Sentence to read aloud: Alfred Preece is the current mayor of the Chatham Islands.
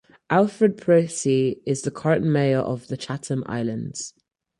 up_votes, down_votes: 0, 4